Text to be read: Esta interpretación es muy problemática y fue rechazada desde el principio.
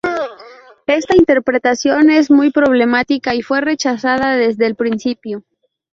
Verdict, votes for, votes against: rejected, 0, 2